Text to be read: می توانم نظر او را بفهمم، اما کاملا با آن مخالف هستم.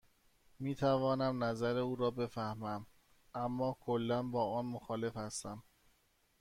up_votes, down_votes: 1, 2